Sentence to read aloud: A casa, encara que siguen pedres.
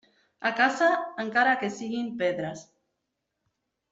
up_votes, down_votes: 2, 0